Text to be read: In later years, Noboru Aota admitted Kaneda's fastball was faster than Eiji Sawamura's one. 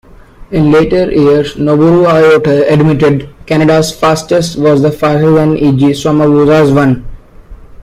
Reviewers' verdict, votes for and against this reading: rejected, 0, 2